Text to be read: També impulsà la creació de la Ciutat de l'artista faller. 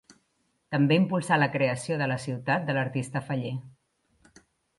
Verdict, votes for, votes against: accepted, 3, 0